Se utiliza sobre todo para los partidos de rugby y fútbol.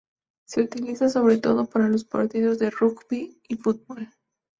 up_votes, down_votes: 2, 0